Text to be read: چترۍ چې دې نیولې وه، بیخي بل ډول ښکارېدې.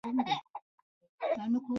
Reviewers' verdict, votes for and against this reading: rejected, 0, 3